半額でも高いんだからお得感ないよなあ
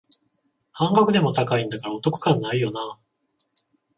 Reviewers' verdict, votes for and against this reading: accepted, 14, 7